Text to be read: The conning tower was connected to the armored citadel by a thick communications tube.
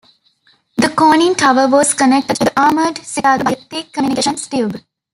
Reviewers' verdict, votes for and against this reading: rejected, 0, 2